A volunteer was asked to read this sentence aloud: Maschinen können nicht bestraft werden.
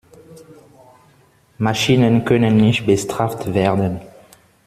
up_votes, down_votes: 0, 2